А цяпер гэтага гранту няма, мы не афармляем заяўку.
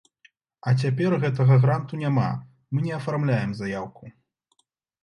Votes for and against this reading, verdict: 2, 0, accepted